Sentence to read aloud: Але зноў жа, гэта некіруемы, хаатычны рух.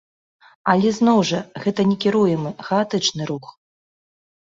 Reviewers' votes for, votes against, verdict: 1, 2, rejected